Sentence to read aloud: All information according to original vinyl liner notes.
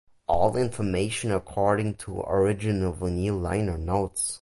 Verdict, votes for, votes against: accepted, 2, 0